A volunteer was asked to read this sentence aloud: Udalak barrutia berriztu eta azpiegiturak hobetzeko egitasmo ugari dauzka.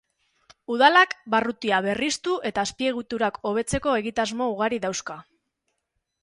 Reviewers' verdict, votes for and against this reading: accepted, 2, 0